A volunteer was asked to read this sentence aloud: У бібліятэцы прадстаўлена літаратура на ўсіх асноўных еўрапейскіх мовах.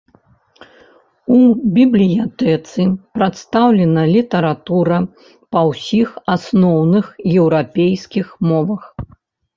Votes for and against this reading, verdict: 2, 0, accepted